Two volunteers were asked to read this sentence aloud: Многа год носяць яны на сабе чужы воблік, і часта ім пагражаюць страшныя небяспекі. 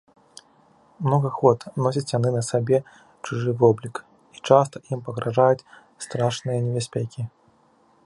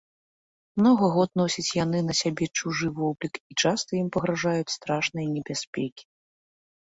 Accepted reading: first